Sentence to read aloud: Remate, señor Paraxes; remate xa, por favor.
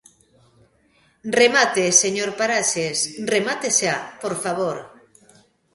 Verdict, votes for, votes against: accepted, 2, 0